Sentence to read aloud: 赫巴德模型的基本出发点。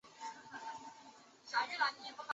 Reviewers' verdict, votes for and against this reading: rejected, 1, 2